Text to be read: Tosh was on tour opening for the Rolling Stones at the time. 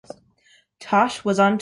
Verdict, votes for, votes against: rejected, 0, 2